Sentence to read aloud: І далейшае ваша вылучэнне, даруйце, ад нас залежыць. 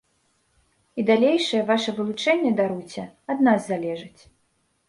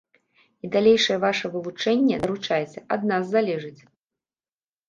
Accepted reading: first